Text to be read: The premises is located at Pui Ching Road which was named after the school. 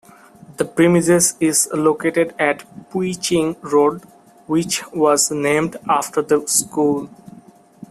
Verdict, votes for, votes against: rejected, 1, 2